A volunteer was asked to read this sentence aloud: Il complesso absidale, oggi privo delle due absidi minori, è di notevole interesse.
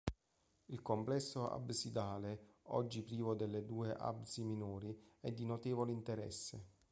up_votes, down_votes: 2, 1